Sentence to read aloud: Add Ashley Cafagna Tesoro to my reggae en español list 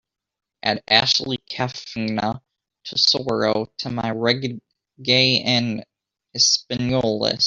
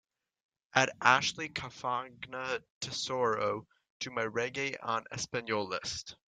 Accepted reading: second